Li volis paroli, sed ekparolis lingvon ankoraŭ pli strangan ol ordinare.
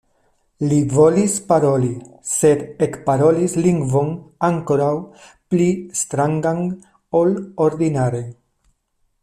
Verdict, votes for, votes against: accepted, 2, 0